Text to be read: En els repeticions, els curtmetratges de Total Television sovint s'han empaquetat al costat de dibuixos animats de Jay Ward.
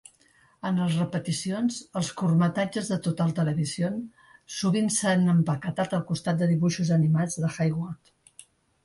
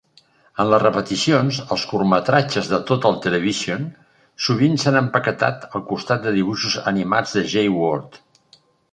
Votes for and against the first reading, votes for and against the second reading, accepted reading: 2, 1, 0, 2, first